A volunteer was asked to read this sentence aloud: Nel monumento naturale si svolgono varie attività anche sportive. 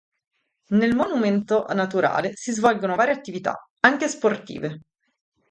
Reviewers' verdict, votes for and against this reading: rejected, 2, 2